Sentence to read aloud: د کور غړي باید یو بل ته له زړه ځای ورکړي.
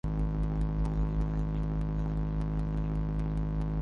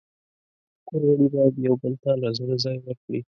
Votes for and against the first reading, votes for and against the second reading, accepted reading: 1, 2, 2, 0, second